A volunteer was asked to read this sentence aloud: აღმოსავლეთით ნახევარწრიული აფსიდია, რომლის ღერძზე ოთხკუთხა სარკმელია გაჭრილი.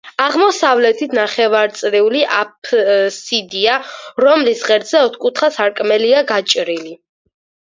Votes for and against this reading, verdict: 4, 0, accepted